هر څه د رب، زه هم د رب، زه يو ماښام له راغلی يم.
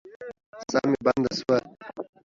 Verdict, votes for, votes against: rejected, 1, 2